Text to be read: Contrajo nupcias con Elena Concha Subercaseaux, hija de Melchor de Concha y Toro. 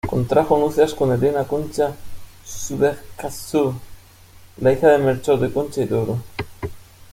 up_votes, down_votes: 0, 2